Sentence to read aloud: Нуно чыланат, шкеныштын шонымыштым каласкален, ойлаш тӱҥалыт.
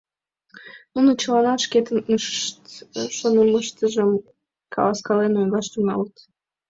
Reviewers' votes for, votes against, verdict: 0, 2, rejected